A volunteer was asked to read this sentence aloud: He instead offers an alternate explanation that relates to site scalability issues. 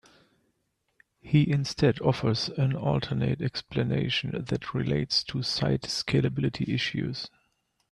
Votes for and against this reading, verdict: 2, 1, accepted